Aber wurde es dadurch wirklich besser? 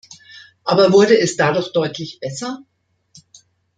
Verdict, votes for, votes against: rejected, 0, 2